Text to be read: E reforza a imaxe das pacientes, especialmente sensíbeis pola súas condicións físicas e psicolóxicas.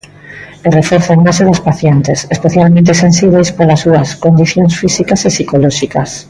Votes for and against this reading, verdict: 0, 2, rejected